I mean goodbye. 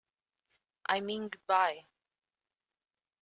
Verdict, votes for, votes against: rejected, 0, 2